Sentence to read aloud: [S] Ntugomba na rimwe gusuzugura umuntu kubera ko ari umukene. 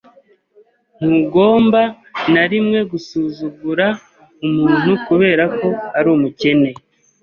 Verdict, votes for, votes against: rejected, 1, 2